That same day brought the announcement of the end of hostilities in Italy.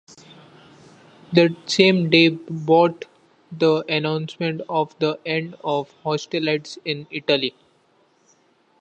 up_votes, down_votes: 0, 2